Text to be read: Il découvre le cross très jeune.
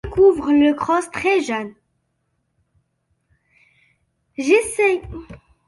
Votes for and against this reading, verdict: 0, 2, rejected